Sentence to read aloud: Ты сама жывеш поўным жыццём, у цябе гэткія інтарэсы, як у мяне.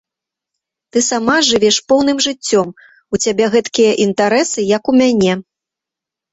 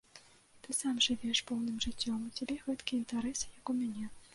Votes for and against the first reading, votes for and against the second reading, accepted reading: 2, 0, 1, 2, first